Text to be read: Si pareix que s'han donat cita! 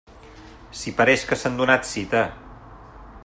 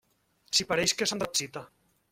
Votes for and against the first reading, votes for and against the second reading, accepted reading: 2, 0, 0, 2, first